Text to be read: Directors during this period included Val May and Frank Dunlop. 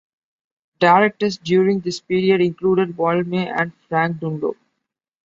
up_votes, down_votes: 2, 1